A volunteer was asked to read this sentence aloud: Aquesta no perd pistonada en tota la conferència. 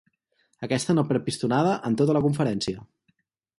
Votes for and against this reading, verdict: 2, 0, accepted